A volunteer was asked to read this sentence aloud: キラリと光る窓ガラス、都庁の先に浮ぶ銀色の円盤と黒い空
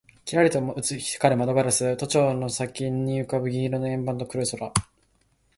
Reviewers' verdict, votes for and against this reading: accepted, 2, 0